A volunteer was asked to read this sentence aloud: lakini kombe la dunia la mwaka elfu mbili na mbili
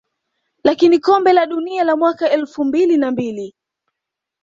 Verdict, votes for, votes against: rejected, 0, 2